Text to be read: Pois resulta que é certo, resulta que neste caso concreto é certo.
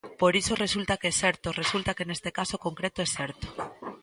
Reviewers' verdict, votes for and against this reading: rejected, 0, 2